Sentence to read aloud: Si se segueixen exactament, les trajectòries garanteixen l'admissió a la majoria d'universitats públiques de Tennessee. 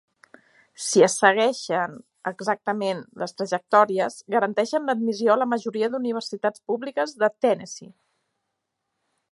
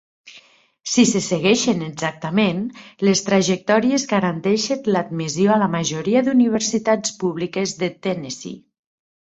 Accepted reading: second